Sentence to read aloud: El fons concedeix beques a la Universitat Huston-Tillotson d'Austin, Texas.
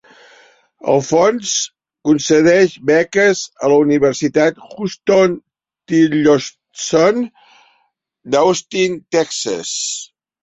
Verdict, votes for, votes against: accepted, 2, 1